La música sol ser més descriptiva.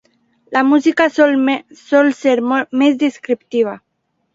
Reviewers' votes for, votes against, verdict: 0, 2, rejected